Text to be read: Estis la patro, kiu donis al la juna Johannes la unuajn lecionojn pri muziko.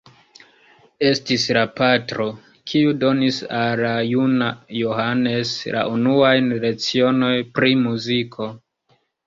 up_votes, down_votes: 0, 2